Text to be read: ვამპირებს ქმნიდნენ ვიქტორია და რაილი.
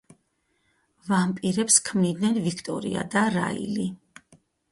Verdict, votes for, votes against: rejected, 0, 2